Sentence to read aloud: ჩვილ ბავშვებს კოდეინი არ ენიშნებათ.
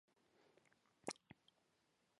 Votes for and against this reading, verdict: 0, 2, rejected